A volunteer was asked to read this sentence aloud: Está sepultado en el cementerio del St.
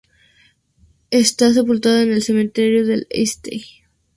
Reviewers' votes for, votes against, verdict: 0, 2, rejected